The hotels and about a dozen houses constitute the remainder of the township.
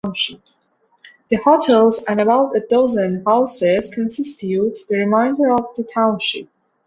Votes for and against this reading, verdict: 1, 2, rejected